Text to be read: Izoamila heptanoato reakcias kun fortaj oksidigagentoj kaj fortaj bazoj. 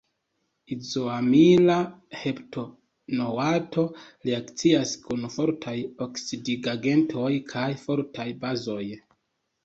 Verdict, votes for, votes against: accepted, 2, 1